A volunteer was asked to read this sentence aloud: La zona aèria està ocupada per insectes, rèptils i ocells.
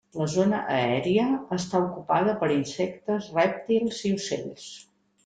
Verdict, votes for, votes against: accepted, 3, 0